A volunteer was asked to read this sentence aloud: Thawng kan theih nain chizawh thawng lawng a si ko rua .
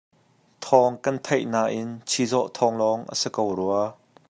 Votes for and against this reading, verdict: 2, 0, accepted